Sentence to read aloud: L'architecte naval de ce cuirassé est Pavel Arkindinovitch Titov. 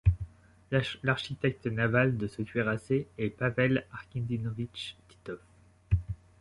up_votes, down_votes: 0, 2